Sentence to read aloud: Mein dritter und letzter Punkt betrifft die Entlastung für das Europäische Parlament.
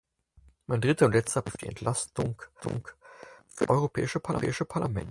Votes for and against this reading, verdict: 0, 4, rejected